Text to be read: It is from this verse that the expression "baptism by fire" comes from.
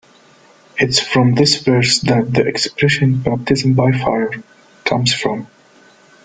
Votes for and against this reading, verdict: 2, 1, accepted